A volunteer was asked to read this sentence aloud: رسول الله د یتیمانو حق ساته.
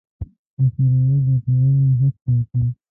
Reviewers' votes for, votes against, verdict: 0, 2, rejected